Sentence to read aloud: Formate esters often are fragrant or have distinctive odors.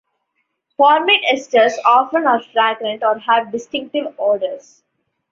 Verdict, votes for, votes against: rejected, 1, 2